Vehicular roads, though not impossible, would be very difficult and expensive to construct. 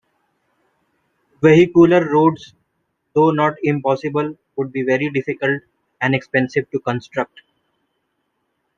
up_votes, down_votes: 2, 0